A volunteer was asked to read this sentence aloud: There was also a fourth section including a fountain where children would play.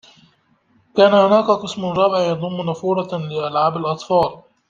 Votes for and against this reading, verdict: 0, 2, rejected